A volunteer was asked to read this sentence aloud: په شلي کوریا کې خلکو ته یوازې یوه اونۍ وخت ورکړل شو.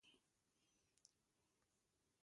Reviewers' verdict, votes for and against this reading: rejected, 1, 2